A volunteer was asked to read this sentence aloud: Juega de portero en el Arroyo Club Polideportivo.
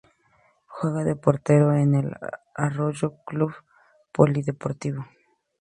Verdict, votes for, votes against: rejected, 0, 2